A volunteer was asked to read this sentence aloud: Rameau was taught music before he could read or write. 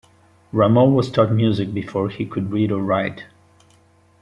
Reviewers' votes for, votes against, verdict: 2, 1, accepted